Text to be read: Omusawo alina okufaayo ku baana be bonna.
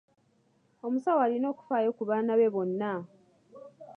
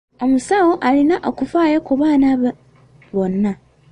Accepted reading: first